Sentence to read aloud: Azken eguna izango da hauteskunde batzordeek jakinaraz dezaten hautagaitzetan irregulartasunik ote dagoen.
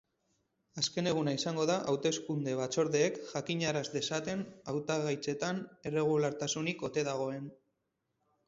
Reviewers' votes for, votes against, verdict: 0, 4, rejected